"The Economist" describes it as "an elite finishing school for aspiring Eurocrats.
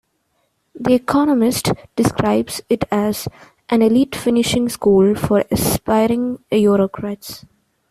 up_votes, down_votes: 2, 0